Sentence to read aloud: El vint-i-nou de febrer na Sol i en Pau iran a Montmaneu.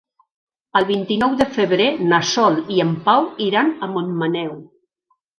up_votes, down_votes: 3, 1